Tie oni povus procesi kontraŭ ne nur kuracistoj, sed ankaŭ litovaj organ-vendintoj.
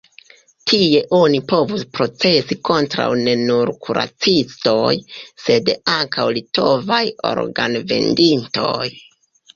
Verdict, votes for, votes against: accepted, 3, 2